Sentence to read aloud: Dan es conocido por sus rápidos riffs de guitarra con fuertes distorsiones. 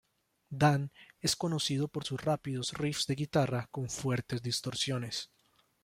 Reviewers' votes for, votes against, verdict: 2, 0, accepted